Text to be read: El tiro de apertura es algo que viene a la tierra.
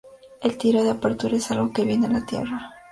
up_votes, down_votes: 2, 0